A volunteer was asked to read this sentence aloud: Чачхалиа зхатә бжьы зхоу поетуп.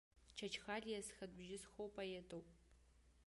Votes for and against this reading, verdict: 2, 1, accepted